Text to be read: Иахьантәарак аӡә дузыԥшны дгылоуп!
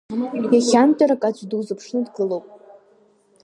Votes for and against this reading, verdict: 2, 0, accepted